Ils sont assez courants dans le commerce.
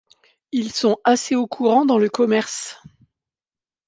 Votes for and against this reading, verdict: 1, 2, rejected